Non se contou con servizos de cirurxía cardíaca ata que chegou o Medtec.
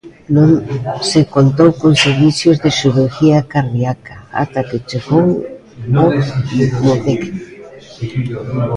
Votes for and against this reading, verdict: 0, 2, rejected